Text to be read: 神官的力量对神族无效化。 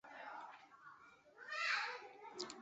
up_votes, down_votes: 0, 3